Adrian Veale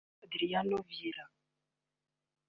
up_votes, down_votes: 1, 2